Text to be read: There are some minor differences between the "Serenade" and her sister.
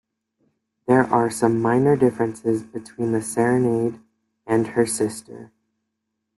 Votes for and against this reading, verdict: 2, 0, accepted